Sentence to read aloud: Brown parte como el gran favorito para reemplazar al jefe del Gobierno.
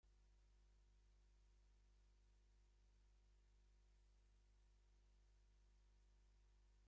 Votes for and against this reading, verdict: 0, 2, rejected